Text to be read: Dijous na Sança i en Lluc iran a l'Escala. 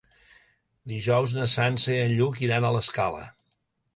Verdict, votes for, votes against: accepted, 2, 0